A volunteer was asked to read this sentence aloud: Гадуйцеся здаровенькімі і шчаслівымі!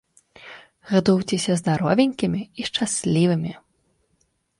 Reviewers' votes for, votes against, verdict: 0, 2, rejected